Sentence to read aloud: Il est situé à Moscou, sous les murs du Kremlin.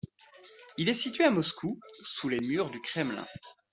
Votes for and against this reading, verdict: 2, 0, accepted